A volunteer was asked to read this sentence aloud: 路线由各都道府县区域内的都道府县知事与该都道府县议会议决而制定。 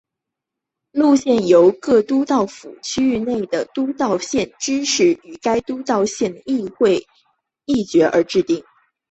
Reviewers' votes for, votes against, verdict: 3, 0, accepted